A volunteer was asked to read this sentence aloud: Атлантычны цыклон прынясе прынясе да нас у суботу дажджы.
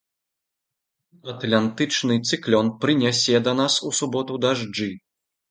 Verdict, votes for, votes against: accepted, 2, 0